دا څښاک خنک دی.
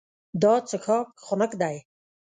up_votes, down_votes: 1, 2